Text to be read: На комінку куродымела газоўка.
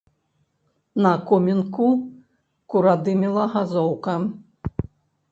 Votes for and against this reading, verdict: 0, 2, rejected